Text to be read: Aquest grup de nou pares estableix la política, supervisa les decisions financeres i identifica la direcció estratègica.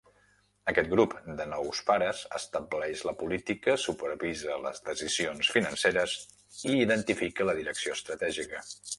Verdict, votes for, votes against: rejected, 0, 2